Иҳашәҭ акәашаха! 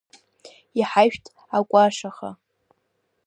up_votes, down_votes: 0, 2